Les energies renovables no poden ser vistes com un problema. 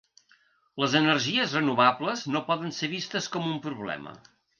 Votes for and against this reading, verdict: 3, 0, accepted